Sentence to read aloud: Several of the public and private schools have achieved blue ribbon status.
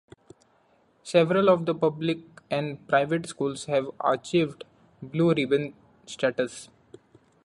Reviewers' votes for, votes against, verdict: 2, 1, accepted